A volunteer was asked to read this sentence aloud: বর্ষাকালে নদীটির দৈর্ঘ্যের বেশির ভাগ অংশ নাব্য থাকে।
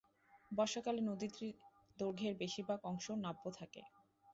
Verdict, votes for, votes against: rejected, 0, 2